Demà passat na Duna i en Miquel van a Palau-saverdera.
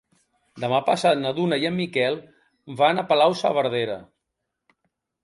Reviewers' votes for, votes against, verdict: 2, 0, accepted